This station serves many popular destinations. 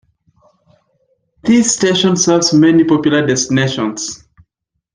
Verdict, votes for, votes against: accepted, 2, 0